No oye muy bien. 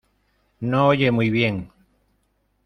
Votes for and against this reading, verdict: 2, 0, accepted